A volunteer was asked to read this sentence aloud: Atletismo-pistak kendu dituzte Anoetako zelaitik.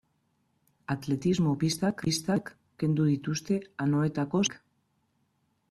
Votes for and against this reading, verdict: 0, 2, rejected